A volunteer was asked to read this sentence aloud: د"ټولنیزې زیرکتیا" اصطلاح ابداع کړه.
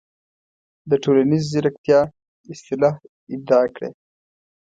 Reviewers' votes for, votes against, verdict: 2, 0, accepted